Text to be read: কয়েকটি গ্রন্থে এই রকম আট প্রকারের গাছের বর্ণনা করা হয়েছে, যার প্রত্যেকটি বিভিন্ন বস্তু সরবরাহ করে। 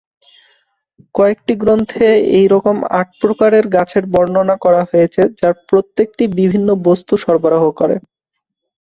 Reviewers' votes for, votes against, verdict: 4, 1, accepted